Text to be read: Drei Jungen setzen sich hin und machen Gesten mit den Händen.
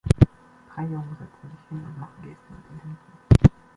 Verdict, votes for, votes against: accepted, 2, 0